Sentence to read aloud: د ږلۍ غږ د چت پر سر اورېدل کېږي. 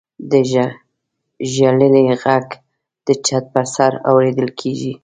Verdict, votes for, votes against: rejected, 1, 2